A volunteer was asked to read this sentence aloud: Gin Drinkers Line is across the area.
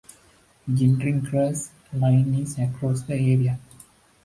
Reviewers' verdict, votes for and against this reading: rejected, 1, 2